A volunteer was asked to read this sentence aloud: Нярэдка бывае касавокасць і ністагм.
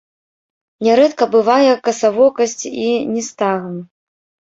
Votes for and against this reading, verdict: 1, 2, rejected